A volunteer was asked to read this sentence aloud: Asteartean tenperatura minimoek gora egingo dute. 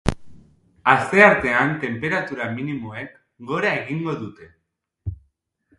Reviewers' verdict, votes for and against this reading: accepted, 2, 0